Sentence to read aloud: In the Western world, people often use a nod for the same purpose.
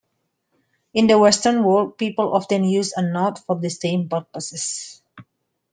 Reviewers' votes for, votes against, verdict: 1, 2, rejected